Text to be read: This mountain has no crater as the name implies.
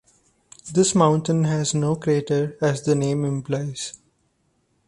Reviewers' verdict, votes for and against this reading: accepted, 2, 0